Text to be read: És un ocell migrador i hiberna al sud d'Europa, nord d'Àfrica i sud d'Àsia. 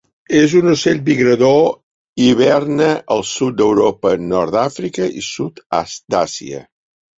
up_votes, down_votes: 0, 2